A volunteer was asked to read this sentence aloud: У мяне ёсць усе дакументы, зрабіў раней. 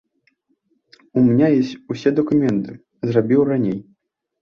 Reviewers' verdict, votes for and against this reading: rejected, 0, 2